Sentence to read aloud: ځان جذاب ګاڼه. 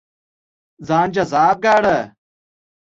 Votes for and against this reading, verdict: 2, 0, accepted